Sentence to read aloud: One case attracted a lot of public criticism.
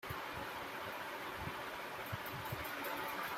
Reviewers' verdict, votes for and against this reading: rejected, 0, 2